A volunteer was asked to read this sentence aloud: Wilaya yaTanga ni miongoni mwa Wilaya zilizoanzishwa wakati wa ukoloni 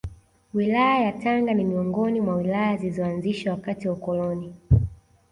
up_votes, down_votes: 2, 0